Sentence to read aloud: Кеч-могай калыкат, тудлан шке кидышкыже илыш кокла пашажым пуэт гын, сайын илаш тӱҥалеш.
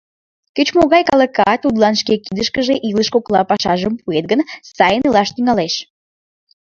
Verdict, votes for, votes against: rejected, 1, 2